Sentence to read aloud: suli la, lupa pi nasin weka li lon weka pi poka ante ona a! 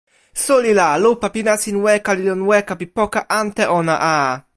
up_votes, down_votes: 2, 0